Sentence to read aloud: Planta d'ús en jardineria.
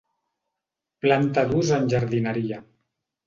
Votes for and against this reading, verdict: 2, 0, accepted